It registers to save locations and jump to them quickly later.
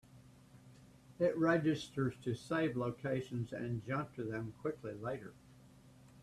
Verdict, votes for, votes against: accepted, 3, 0